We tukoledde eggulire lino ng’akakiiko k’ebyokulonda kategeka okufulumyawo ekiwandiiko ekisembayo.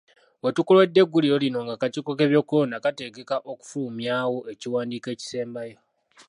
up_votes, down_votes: 0, 2